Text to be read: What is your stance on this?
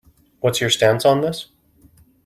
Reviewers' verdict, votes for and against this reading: accepted, 3, 1